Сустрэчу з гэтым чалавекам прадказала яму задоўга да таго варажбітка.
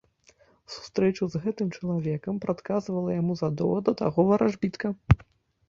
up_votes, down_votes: 1, 2